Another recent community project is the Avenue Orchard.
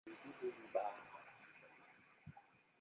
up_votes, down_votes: 0, 2